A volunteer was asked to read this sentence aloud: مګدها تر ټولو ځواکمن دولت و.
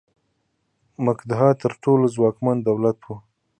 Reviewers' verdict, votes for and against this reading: accepted, 2, 0